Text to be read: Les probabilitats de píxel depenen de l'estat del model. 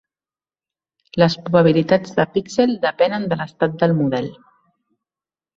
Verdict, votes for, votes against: accepted, 3, 0